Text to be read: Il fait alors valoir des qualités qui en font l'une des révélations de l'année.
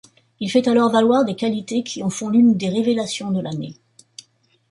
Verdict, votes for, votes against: accepted, 2, 0